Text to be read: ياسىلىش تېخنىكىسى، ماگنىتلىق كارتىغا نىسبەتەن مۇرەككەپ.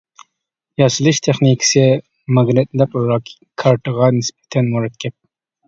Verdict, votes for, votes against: rejected, 0, 2